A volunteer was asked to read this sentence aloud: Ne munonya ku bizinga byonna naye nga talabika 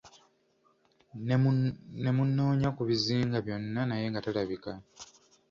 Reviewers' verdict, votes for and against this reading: rejected, 1, 2